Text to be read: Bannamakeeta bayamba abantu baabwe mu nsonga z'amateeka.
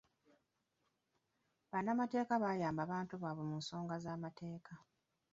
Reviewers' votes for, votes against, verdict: 0, 2, rejected